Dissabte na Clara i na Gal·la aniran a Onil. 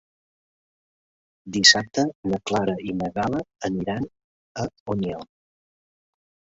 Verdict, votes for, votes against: accepted, 3, 1